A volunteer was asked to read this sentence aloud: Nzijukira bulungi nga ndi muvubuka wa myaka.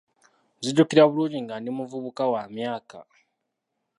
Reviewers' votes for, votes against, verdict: 1, 2, rejected